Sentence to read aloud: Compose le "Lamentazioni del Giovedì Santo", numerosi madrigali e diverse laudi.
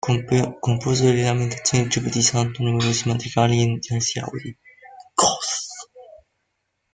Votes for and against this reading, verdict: 0, 2, rejected